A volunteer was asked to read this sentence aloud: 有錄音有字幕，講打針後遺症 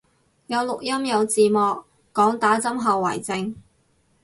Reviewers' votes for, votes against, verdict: 4, 0, accepted